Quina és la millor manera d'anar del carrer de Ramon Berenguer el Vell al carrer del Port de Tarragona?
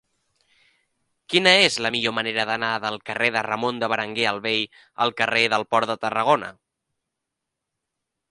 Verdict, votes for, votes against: rejected, 0, 2